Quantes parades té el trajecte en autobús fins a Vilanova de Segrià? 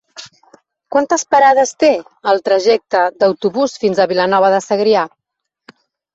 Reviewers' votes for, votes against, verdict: 0, 2, rejected